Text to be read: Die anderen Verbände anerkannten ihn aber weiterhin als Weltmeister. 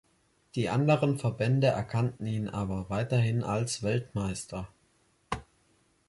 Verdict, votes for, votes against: rejected, 0, 2